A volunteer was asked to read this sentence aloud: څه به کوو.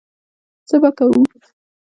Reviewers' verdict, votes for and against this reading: accepted, 2, 0